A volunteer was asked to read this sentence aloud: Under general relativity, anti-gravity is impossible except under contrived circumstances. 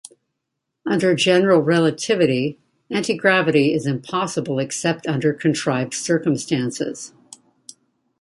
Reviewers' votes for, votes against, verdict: 2, 0, accepted